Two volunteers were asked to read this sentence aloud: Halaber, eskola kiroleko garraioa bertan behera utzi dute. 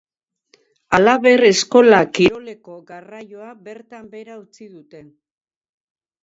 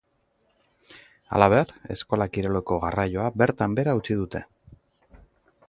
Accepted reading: second